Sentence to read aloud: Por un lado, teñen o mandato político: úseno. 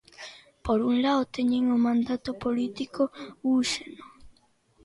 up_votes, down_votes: 0, 2